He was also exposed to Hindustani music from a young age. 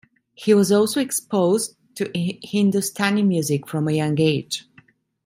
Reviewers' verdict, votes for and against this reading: rejected, 0, 2